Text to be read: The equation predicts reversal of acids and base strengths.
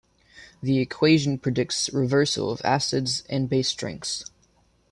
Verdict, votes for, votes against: accepted, 2, 0